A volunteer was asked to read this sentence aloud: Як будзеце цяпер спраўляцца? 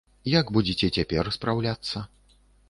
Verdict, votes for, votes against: accepted, 2, 0